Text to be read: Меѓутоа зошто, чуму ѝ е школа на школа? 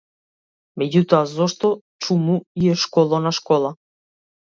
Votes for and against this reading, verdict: 1, 2, rejected